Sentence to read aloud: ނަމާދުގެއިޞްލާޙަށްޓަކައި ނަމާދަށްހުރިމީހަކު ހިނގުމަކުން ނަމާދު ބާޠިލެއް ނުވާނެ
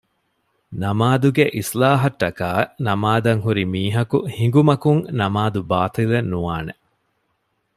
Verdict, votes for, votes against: accepted, 2, 0